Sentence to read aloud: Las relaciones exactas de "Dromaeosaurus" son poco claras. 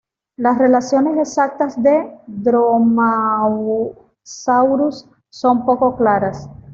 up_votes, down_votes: 1, 2